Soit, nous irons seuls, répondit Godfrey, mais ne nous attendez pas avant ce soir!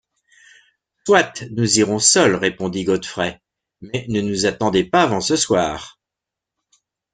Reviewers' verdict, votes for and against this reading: accepted, 2, 0